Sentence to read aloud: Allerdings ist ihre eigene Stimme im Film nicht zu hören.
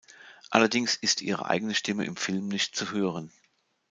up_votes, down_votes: 2, 0